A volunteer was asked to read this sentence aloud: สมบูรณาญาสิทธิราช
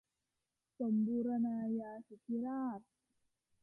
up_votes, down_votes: 2, 0